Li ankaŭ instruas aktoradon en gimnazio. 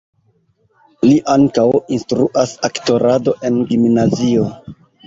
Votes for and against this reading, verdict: 1, 2, rejected